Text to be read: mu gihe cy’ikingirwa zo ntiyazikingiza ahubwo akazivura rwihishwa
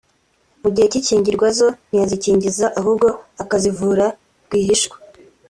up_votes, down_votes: 2, 0